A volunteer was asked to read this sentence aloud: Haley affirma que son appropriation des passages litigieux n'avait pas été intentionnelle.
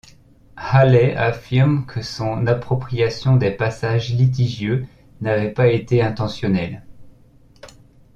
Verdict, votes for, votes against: rejected, 1, 2